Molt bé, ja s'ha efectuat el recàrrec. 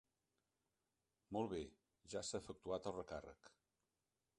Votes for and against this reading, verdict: 3, 0, accepted